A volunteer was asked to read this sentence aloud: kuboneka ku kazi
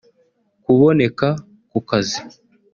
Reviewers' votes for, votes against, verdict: 2, 0, accepted